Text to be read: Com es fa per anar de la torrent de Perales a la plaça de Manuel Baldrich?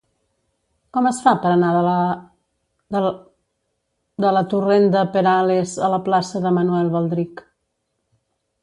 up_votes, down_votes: 0, 2